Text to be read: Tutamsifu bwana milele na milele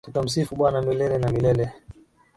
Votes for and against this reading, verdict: 2, 0, accepted